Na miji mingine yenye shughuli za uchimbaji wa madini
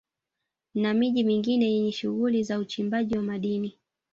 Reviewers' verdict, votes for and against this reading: accepted, 4, 0